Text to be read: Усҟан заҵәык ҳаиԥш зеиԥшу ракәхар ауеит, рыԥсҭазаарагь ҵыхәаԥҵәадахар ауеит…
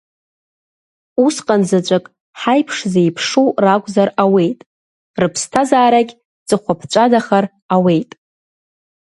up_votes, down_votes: 0, 2